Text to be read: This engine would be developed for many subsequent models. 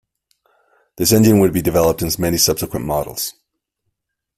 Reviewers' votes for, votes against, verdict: 0, 2, rejected